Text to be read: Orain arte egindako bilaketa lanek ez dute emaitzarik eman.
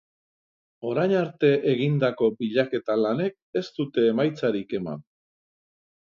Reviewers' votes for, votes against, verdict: 3, 0, accepted